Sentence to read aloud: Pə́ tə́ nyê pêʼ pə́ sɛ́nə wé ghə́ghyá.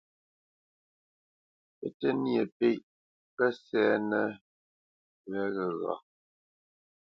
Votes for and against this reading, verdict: 0, 2, rejected